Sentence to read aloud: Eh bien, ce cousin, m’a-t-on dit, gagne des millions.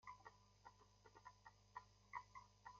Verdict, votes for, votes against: rejected, 0, 2